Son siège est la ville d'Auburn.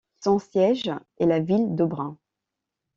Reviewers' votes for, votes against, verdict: 0, 2, rejected